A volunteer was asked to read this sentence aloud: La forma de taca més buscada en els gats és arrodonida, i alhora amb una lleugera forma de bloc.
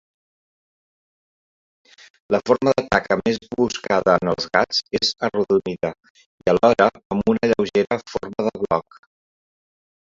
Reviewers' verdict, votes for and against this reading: rejected, 1, 2